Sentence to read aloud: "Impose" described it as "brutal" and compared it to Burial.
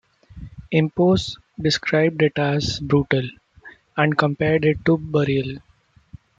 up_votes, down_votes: 0, 2